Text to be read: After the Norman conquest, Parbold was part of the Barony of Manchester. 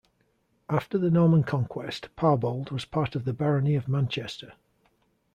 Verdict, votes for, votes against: accepted, 2, 0